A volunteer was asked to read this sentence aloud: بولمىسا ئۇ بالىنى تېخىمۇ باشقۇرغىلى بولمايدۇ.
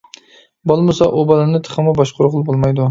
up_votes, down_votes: 2, 0